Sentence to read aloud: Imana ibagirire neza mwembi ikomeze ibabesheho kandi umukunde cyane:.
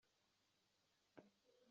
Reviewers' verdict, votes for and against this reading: rejected, 0, 2